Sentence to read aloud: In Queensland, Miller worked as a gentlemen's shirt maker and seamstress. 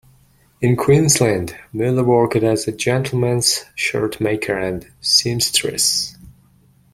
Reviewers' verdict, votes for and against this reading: accepted, 2, 1